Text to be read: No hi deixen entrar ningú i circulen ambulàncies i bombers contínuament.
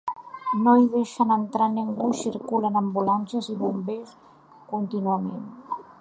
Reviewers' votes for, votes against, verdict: 2, 0, accepted